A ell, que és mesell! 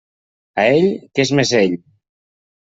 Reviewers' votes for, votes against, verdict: 2, 0, accepted